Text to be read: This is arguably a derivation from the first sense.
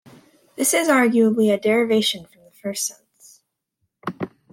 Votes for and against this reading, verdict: 2, 0, accepted